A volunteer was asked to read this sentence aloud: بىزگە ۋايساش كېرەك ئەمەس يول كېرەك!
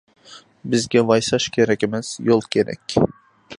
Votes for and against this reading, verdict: 2, 0, accepted